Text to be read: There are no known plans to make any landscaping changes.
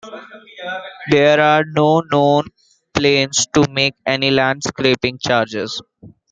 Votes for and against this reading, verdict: 1, 2, rejected